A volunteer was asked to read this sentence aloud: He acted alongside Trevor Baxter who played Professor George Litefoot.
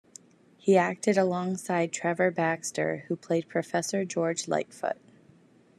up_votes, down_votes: 2, 0